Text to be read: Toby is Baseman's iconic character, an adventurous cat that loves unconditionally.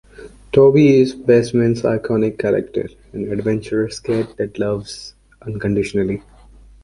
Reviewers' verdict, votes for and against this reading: accepted, 2, 0